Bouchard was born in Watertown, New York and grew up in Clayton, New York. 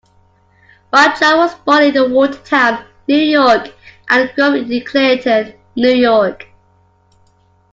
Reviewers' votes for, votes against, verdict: 1, 2, rejected